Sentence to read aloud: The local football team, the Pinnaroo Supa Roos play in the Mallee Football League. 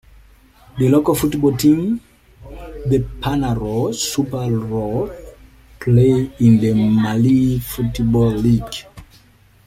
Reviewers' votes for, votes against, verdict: 1, 2, rejected